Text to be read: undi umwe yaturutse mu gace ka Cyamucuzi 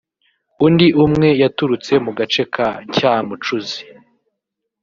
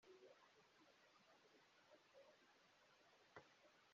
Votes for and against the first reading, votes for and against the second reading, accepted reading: 2, 0, 0, 2, first